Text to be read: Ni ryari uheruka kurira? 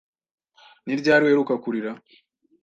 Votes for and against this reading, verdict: 2, 0, accepted